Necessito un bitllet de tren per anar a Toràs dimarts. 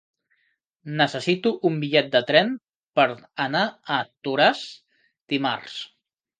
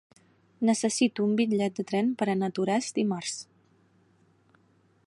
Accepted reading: second